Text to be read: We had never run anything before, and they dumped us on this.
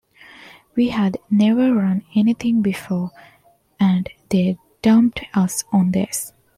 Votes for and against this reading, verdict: 3, 0, accepted